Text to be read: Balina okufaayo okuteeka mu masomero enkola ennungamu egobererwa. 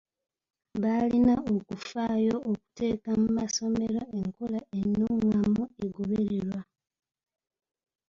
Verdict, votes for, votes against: rejected, 1, 2